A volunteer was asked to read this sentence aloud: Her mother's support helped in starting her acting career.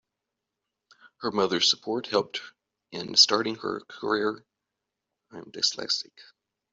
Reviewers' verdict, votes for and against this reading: rejected, 0, 2